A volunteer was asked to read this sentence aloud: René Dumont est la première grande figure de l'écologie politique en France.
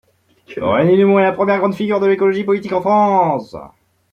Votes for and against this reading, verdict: 0, 2, rejected